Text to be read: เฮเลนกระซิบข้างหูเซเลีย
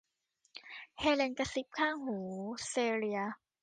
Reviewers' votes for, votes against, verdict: 2, 0, accepted